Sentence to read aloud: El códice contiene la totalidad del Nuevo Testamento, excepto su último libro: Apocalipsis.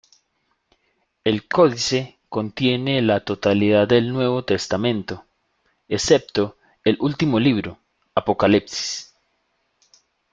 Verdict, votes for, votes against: rejected, 0, 2